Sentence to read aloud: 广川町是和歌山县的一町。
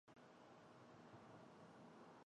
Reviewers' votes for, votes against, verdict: 0, 2, rejected